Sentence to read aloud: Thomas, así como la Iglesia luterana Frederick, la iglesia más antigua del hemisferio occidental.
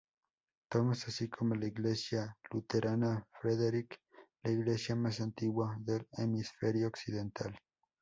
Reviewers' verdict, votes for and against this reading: rejected, 0, 2